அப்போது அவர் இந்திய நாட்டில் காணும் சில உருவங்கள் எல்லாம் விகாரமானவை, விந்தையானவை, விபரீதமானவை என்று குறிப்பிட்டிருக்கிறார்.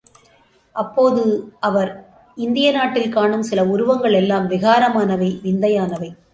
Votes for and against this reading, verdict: 0, 2, rejected